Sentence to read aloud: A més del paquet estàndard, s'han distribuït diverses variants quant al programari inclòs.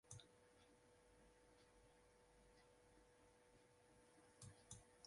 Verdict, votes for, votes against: rejected, 0, 2